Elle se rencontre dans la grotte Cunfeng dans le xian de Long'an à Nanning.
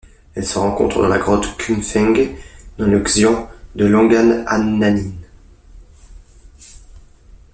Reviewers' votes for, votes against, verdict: 1, 2, rejected